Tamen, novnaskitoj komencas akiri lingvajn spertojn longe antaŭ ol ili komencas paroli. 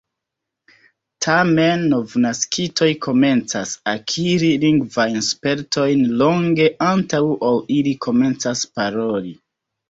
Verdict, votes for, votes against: rejected, 2, 3